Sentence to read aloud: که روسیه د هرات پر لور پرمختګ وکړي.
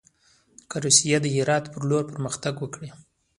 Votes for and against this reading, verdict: 0, 2, rejected